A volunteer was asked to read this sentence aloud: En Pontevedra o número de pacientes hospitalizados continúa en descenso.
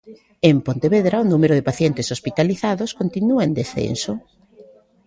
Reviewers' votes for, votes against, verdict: 1, 2, rejected